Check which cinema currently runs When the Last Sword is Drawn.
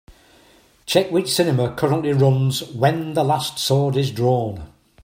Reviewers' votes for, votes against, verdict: 3, 0, accepted